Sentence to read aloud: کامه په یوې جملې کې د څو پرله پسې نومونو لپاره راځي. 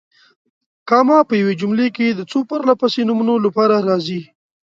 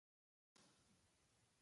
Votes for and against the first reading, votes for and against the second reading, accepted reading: 2, 0, 0, 2, first